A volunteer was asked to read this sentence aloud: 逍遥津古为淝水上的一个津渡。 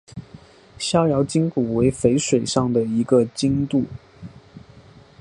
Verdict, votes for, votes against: accepted, 2, 0